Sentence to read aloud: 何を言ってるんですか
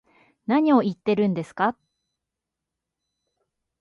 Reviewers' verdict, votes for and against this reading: accepted, 2, 0